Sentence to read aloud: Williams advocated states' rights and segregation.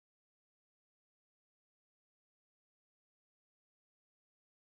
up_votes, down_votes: 1, 2